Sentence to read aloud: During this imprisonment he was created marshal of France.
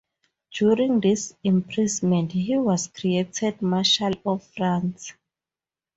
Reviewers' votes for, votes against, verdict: 4, 0, accepted